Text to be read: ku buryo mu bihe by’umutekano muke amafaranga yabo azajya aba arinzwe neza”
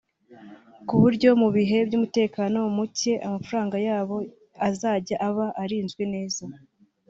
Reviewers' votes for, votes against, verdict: 2, 1, accepted